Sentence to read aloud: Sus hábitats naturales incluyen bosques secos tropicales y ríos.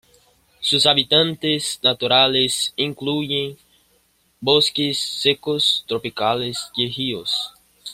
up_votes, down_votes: 0, 2